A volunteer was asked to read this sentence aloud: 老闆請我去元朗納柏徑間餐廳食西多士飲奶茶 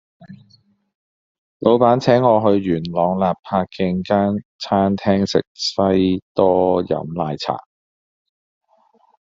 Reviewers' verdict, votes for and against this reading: rejected, 1, 2